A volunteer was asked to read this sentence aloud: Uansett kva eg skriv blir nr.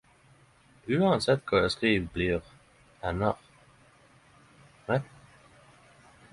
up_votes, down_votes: 0, 10